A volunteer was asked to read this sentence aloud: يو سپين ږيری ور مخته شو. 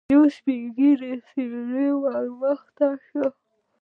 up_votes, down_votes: 0, 2